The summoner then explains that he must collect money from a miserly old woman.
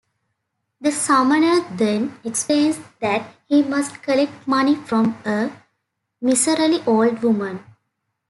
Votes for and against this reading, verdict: 1, 2, rejected